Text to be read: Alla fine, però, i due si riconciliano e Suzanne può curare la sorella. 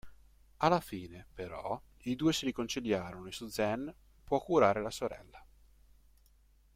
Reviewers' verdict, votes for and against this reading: rejected, 1, 2